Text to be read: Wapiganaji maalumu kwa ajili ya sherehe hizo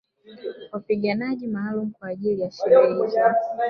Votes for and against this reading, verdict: 2, 3, rejected